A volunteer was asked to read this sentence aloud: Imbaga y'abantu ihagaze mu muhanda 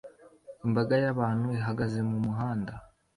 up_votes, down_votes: 2, 0